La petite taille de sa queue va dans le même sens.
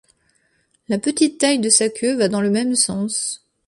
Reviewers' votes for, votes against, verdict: 2, 0, accepted